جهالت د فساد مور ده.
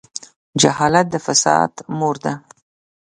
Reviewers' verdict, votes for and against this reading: accepted, 2, 0